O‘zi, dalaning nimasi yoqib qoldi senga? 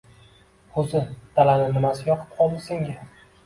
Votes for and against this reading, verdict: 1, 2, rejected